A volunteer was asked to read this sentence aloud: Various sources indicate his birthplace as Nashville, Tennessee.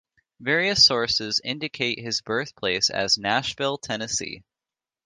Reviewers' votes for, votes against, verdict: 1, 2, rejected